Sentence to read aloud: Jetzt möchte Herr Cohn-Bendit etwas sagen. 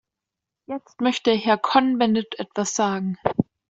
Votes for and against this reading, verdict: 1, 2, rejected